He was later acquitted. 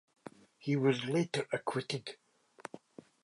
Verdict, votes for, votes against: accepted, 2, 0